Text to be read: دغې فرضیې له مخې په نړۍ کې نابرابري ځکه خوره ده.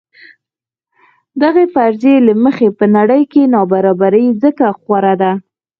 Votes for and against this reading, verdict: 4, 0, accepted